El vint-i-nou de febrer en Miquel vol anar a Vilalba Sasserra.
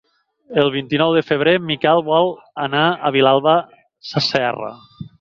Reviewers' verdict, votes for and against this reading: accepted, 8, 0